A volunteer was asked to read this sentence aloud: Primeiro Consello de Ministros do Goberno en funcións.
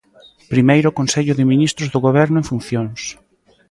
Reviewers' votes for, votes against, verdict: 2, 0, accepted